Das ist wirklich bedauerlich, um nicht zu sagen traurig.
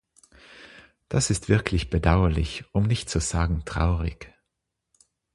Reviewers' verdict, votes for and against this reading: accepted, 6, 0